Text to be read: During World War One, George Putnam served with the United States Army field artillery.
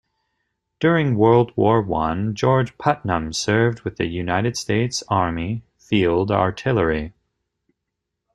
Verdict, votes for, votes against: accepted, 2, 0